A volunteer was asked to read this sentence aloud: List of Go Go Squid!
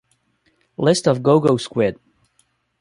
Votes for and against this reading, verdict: 2, 0, accepted